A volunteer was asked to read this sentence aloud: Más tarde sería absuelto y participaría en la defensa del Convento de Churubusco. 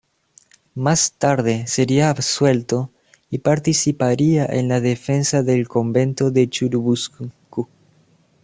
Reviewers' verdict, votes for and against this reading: rejected, 1, 2